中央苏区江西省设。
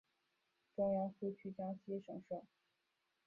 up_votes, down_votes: 0, 2